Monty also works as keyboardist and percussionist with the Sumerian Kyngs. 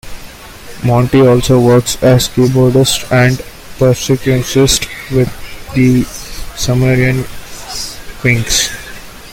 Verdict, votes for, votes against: rejected, 0, 2